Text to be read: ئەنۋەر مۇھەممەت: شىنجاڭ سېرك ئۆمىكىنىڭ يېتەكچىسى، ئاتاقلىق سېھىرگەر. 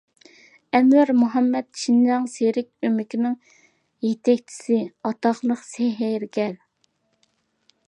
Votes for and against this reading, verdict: 2, 1, accepted